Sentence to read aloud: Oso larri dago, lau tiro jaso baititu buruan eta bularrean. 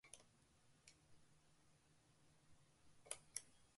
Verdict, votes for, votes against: rejected, 0, 3